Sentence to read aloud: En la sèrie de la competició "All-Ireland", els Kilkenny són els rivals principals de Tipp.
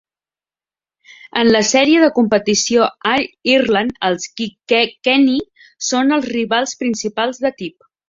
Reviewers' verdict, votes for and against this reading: rejected, 0, 2